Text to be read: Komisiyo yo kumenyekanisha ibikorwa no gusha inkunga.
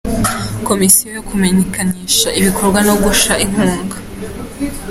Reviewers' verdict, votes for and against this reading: accepted, 2, 0